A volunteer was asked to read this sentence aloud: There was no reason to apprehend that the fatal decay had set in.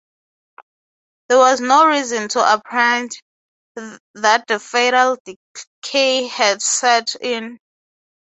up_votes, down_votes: 3, 3